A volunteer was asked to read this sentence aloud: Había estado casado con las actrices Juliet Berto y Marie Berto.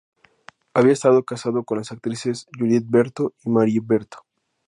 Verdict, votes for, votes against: accepted, 2, 0